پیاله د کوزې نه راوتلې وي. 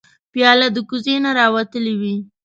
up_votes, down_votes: 2, 0